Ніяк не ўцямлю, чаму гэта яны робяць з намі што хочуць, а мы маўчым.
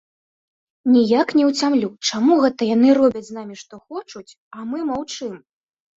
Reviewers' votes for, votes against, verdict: 1, 2, rejected